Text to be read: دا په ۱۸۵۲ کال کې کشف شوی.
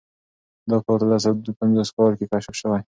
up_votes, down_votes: 0, 2